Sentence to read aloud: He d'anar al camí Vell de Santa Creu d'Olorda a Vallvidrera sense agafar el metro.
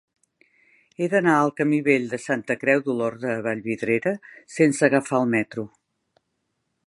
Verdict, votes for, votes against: accepted, 2, 0